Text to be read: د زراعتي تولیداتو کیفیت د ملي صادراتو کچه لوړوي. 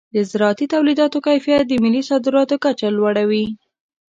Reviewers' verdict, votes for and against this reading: accepted, 2, 0